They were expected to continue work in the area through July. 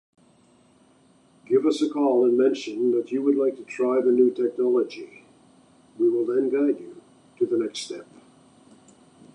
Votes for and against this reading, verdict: 0, 2, rejected